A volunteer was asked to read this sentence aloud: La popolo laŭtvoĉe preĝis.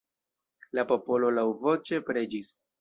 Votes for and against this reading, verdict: 0, 2, rejected